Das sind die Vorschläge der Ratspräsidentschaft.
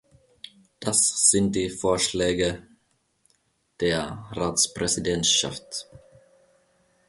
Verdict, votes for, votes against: accepted, 2, 0